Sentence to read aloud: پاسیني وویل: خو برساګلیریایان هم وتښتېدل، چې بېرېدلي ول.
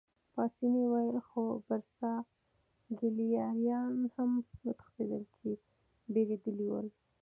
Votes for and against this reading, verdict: 2, 0, accepted